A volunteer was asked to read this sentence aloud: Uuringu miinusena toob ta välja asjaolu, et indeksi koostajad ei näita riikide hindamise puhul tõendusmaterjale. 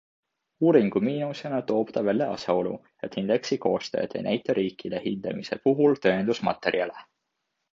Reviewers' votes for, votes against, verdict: 2, 0, accepted